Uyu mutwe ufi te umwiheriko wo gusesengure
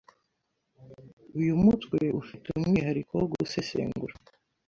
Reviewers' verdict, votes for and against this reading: rejected, 1, 2